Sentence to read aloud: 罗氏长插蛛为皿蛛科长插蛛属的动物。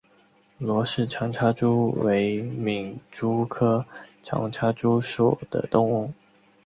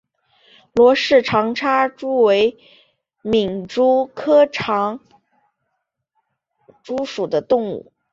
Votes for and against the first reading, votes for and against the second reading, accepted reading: 2, 0, 0, 3, first